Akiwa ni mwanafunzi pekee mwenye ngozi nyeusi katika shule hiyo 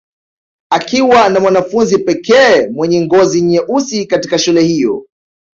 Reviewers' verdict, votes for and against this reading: accepted, 2, 0